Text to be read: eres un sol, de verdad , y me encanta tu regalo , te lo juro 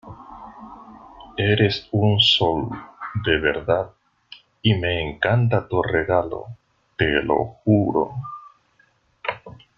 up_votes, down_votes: 2, 1